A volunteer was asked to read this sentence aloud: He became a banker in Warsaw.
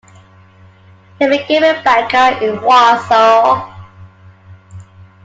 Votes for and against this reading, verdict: 3, 1, accepted